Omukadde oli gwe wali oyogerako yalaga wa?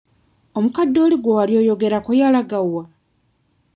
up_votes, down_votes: 0, 2